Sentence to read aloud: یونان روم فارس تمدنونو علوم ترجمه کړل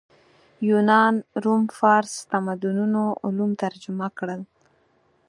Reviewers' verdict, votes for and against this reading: accepted, 4, 2